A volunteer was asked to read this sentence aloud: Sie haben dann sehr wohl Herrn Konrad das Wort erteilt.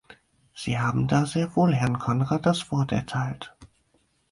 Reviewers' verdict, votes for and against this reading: rejected, 2, 4